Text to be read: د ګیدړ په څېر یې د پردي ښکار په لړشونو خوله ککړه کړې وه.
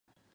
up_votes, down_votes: 1, 2